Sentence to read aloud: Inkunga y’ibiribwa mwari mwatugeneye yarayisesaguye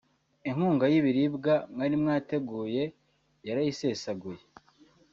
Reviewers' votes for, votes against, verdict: 0, 2, rejected